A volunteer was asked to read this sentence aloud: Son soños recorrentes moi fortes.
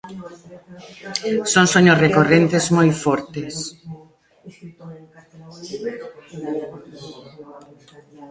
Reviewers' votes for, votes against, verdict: 0, 2, rejected